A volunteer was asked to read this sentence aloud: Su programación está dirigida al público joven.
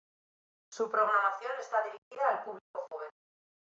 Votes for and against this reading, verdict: 1, 2, rejected